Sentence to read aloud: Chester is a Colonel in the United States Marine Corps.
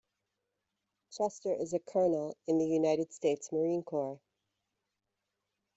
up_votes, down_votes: 1, 2